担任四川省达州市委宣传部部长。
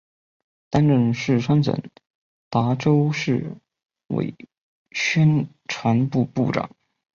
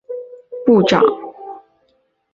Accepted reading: first